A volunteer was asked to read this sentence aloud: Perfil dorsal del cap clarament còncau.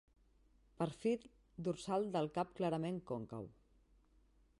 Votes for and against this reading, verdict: 1, 2, rejected